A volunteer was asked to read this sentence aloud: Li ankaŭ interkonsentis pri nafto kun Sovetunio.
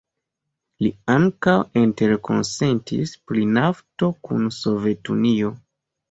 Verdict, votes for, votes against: rejected, 1, 2